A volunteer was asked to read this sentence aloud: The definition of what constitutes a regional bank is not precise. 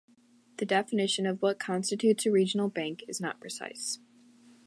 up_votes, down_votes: 2, 1